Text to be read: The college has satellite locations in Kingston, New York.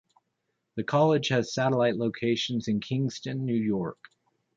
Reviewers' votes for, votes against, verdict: 2, 0, accepted